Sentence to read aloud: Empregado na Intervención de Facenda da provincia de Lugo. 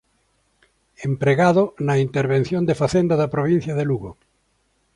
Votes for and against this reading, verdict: 2, 0, accepted